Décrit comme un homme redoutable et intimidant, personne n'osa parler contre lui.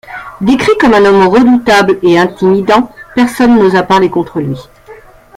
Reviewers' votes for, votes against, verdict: 2, 1, accepted